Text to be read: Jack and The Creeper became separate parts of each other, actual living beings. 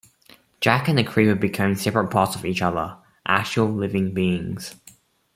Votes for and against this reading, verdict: 1, 2, rejected